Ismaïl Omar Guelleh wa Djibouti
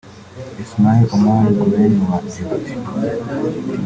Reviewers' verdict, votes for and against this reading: accepted, 2, 1